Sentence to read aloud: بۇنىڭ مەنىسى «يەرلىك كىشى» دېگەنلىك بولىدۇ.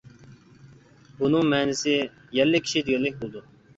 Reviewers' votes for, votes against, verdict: 2, 1, accepted